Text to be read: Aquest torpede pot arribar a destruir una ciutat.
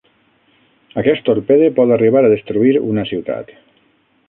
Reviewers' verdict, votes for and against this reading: accepted, 9, 0